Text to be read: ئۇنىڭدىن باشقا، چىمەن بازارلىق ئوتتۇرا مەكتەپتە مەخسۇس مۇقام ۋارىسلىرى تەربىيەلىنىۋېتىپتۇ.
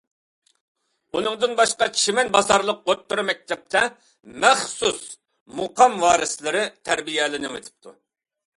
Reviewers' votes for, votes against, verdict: 2, 0, accepted